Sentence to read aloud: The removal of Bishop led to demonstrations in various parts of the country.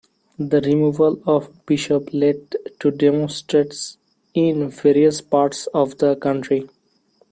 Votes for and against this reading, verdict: 0, 2, rejected